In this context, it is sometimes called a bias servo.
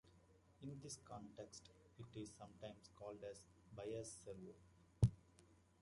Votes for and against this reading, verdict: 0, 2, rejected